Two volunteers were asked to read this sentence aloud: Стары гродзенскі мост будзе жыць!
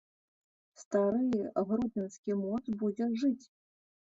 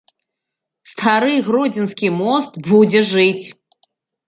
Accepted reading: second